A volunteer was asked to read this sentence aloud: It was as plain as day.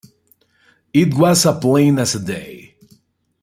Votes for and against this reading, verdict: 0, 2, rejected